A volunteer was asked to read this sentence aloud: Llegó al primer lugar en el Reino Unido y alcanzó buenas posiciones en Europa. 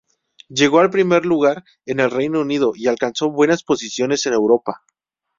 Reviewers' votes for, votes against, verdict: 0, 2, rejected